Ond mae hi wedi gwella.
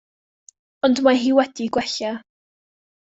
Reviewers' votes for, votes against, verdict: 2, 0, accepted